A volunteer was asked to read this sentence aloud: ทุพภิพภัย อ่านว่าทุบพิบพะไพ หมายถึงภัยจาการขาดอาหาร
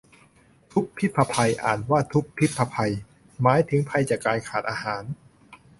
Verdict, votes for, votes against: rejected, 2, 2